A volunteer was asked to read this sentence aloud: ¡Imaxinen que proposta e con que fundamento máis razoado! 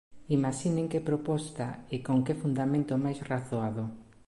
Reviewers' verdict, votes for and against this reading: accepted, 2, 0